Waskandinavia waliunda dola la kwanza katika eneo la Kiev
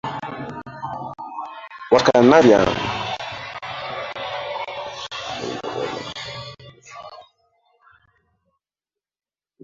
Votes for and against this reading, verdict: 0, 2, rejected